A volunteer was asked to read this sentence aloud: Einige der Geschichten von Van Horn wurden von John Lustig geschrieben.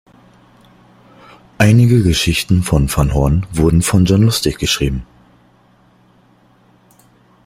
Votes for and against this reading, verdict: 2, 0, accepted